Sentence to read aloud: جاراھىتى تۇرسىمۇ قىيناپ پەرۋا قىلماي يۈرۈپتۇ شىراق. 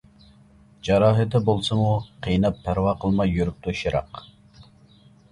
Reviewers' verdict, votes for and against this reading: rejected, 0, 2